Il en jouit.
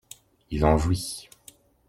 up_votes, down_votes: 0, 2